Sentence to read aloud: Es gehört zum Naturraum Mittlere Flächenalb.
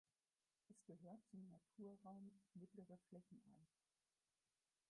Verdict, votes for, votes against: rejected, 0, 4